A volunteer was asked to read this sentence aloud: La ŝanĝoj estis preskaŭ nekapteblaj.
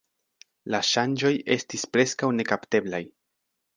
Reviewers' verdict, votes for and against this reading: accepted, 2, 0